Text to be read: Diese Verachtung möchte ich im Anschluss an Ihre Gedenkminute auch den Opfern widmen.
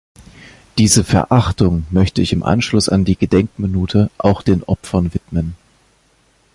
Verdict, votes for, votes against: rejected, 0, 2